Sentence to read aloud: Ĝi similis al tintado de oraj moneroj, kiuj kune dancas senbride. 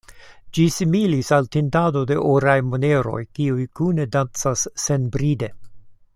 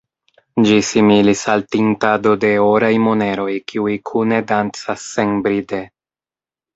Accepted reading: first